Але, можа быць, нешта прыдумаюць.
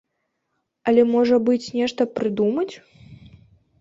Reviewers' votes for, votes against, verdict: 0, 2, rejected